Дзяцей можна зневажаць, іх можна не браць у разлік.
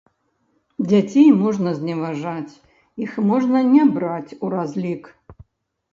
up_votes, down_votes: 0, 2